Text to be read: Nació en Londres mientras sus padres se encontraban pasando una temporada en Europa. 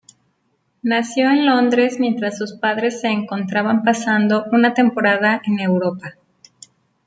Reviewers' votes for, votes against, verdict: 1, 2, rejected